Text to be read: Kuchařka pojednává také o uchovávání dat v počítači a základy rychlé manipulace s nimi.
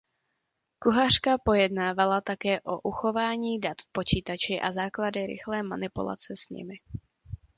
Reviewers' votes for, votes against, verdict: 0, 2, rejected